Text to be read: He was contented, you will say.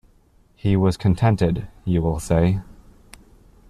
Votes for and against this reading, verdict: 2, 0, accepted